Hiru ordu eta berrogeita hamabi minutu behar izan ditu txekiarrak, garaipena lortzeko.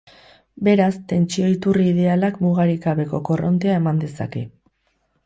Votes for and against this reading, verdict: 0, 2, rejected